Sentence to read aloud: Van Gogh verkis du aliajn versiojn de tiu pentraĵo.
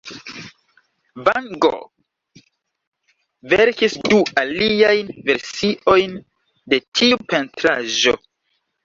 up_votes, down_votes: 0, 2